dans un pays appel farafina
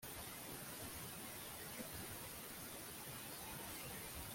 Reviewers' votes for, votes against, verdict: 0, 2, rejected